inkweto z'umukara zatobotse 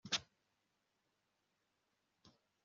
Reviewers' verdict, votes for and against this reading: rejected, 1, 2